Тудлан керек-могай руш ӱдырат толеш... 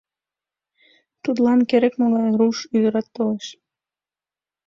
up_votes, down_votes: 2, 0